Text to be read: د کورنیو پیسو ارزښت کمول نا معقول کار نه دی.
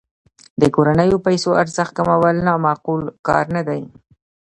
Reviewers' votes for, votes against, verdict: 1, 2, rejected